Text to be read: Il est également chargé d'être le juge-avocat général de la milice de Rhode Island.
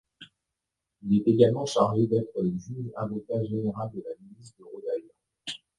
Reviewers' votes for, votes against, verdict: 0, 2, rejected